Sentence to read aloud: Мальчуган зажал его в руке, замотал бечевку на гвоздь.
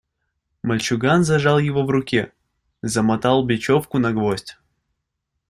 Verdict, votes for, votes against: accepted, 2, 0